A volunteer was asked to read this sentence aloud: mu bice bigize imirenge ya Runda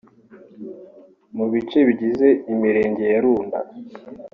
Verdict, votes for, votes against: accepted, 3, 1